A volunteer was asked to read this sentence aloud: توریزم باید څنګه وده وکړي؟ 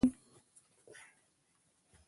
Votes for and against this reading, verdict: 1, 2, rejected